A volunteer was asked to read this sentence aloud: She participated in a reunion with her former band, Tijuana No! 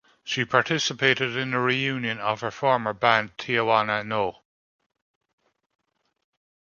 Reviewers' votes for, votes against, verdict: 1, 2, rejected